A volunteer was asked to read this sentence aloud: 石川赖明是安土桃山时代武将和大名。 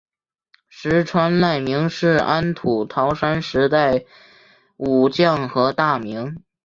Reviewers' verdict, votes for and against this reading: accepted, 2, 1